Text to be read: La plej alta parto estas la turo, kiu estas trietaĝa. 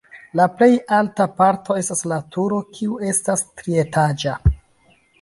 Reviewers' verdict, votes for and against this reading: accepted, 2, 1